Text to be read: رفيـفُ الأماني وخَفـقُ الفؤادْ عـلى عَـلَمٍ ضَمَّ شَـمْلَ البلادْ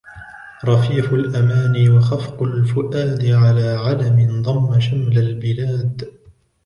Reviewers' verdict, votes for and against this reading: accepted, 2, 1